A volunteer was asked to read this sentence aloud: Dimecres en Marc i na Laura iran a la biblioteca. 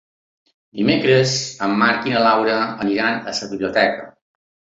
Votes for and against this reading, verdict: 1, 2, rejected